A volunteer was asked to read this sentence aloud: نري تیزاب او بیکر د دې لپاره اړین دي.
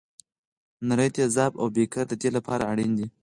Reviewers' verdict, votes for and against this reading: accepted, 4, 0